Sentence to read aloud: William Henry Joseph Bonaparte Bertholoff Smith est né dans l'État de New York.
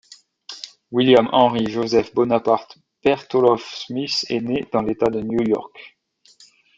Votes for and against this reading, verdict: 2, 0, accepted